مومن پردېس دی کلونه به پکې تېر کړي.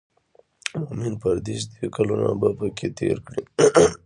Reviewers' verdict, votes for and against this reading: rejected, 0, 2